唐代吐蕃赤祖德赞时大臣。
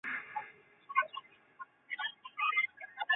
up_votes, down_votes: 0, 4